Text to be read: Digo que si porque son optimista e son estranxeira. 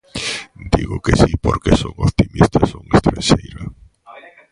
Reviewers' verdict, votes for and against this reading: rejected, 0, 2